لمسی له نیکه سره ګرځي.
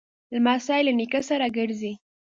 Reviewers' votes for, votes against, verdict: 2, 0, accepted